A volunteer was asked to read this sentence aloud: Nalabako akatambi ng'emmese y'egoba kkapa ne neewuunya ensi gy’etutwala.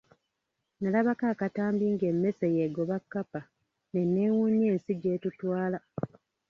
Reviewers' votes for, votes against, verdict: 0, 2, rejected